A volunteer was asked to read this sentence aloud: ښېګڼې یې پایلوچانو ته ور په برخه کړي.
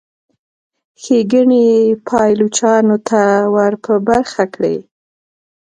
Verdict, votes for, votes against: accepted, 2, 0